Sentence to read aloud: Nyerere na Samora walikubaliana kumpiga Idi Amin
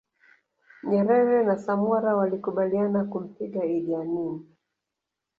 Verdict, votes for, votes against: rejected, 0, 2